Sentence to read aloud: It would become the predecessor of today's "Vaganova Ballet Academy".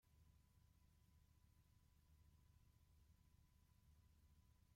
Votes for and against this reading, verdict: 0, 2, rejected